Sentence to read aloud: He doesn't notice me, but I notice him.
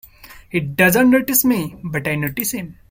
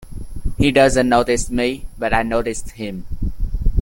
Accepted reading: first